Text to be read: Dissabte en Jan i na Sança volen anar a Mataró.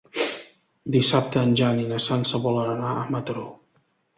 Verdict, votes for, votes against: accepted, 2, 0